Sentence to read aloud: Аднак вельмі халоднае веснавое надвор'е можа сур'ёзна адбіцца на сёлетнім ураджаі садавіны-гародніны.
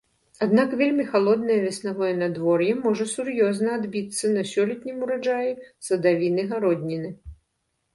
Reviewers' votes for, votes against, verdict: 2, 0, accepted